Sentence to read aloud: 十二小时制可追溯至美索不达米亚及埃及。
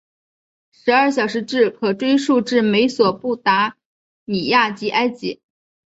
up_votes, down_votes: 3, 0